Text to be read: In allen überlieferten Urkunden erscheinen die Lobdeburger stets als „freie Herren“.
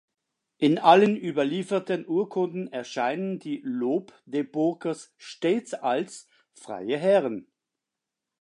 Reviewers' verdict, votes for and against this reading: rejected, 0, 2